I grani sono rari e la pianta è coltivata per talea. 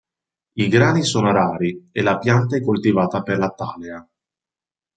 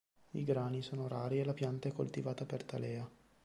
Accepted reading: second